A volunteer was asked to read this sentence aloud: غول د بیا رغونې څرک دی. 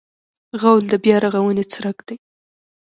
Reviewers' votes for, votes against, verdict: 2, 0, accepted